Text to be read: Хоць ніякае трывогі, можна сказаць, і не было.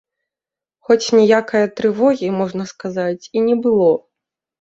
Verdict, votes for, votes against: accepted, 2, 0